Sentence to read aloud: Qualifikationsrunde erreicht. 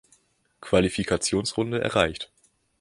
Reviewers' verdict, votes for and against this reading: accepted, 2, 0